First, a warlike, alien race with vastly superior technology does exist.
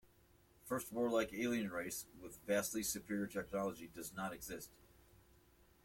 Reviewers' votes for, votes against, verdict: 0, 2, rejected